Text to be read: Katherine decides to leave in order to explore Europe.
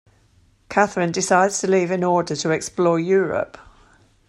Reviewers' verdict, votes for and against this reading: rejected, 1, 2